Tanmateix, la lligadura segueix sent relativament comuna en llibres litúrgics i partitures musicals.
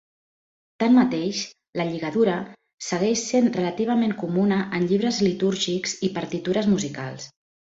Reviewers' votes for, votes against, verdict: 2, 0, accepted